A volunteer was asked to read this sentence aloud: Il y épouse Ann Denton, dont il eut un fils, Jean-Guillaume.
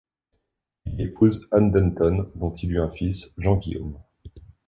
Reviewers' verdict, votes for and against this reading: accepted, 2, 0